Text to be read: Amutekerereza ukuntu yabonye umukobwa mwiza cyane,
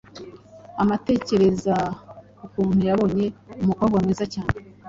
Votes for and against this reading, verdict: 2, 1, accepted